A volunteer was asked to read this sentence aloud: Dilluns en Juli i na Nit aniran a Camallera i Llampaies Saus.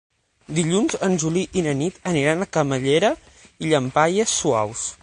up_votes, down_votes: 3, 6